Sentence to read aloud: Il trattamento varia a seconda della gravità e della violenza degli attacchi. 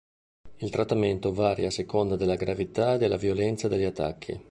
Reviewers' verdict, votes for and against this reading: accepted, 2, 0